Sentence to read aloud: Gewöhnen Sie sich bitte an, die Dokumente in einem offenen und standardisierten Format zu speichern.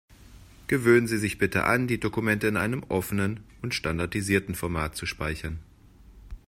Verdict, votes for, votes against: accepted, 2, 0